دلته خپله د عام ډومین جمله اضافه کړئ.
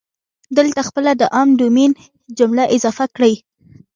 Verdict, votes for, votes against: rejected, 1, 2